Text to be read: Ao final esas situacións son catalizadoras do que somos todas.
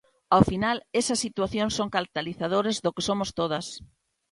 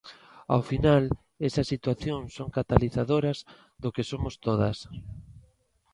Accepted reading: second